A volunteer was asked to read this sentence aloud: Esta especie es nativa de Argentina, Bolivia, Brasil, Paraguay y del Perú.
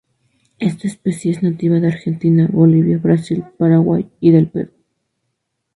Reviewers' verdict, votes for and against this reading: rejected, 0, 2